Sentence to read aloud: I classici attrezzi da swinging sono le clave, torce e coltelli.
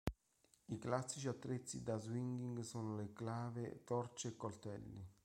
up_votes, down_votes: 1, 2